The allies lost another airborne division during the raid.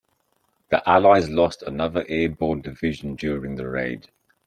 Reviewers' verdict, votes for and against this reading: accepted, 2, 0